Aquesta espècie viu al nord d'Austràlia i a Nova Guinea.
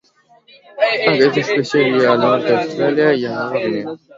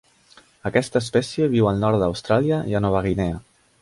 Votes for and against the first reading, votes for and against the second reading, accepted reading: 0, 2, 3, 0, second